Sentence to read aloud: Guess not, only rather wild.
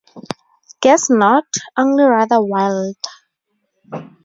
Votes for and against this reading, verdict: 0, 4, rejected